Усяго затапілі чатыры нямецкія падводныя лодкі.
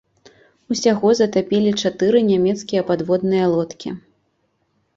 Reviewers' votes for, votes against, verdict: 2, 0, accepted